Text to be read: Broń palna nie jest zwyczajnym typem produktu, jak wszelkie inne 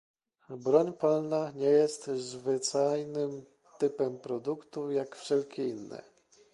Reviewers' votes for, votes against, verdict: 0, 2, rejected